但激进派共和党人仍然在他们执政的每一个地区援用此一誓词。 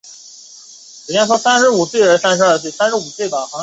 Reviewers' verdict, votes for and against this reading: rejected, 0, 2